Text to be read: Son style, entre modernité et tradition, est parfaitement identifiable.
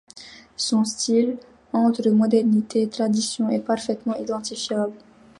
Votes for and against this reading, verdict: 2, 0, accepted